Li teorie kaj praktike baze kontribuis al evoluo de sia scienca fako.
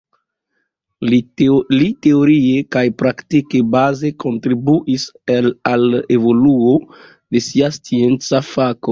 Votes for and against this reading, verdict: 2, 1, accepted